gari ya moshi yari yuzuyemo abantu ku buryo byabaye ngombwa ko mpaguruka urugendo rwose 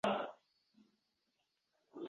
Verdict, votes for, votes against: rejected, 0, 2